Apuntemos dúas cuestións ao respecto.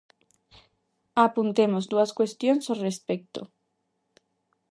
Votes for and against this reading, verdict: 2, 0, accepted